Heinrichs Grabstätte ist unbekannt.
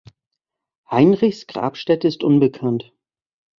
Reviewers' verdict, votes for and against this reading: accepted, 2, 0